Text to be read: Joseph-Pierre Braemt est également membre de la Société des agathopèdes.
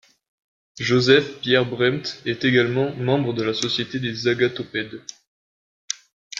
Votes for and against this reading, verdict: 2, 0, accepted